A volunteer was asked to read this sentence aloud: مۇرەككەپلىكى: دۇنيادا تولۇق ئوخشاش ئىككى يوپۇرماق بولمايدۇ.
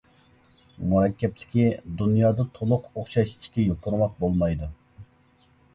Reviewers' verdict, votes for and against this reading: accepted, 2, 0